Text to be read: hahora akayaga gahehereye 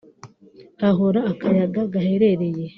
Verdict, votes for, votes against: rejected, 0, 3